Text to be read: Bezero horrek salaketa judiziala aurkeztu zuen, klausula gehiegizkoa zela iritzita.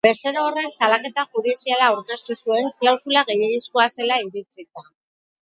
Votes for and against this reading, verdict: 4, 0, accepted